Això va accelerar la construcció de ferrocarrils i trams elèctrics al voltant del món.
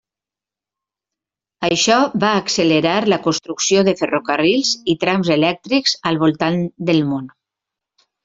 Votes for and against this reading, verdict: 3, 0, accepted